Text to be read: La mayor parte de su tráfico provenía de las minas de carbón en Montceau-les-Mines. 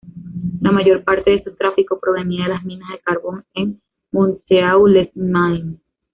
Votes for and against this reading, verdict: 1, 2, rejected